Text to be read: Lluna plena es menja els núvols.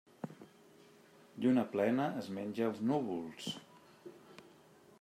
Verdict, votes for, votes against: accepted, 2, 0